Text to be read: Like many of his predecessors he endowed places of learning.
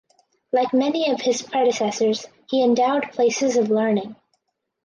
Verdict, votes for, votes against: accepted, 4, 0